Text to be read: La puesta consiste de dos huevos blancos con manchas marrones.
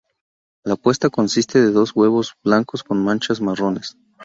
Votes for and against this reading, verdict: 2, 0, accepted